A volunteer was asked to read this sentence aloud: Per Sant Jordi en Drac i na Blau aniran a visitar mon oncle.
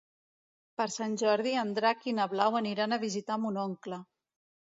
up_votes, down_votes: 2, 0